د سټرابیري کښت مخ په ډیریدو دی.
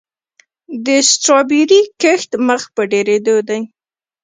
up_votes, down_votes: 0, 2